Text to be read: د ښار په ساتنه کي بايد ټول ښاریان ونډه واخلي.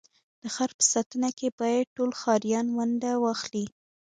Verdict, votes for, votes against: accepted, 2, 1